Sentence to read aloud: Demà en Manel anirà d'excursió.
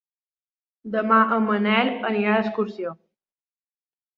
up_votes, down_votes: 3, 0